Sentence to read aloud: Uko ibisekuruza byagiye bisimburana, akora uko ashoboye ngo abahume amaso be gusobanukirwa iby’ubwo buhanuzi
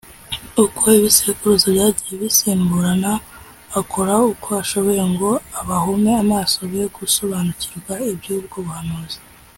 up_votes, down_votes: 2, 0